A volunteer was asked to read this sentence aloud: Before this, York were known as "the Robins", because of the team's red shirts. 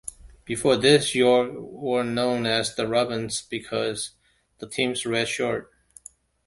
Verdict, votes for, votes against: rejected, 0, 2